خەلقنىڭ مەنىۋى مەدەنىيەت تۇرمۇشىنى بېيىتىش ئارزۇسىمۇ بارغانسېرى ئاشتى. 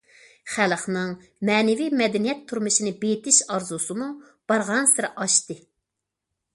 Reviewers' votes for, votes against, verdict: 2, 0, accepted